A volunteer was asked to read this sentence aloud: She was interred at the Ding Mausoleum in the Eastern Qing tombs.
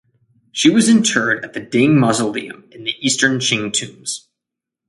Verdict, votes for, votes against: accepted, 2, 0